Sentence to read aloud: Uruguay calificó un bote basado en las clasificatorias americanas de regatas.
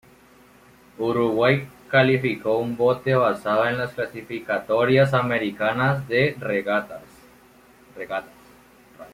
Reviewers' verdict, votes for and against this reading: accepted, 2, 1